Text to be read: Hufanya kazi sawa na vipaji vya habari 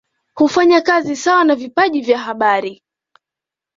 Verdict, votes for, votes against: accepted, 2, 0